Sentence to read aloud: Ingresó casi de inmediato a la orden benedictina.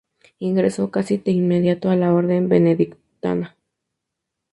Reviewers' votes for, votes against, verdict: 0, 2, rejected